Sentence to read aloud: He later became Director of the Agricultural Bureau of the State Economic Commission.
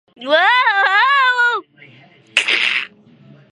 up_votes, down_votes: 0, 2